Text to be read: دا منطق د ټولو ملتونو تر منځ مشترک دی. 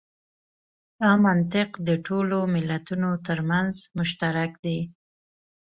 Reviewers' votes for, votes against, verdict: 2, 0, accepted